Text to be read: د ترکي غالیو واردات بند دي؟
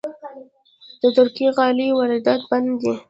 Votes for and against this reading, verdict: 1, 2, rejected